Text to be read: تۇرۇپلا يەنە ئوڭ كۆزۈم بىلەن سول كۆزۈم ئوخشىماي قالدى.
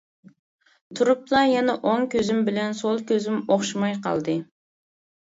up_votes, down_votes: 3, 0